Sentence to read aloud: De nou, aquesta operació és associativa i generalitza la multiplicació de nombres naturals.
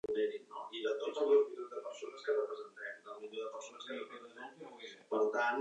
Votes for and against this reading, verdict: 0, 2, rejected